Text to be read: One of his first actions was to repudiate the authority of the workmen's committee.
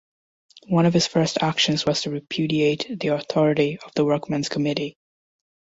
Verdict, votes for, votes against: accepted, 2, 0